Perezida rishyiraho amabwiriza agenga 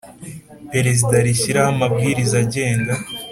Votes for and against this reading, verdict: 2, 0, accepted